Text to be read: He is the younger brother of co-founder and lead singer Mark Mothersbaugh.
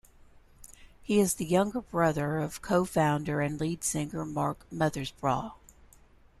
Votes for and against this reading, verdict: 0, 2, rejected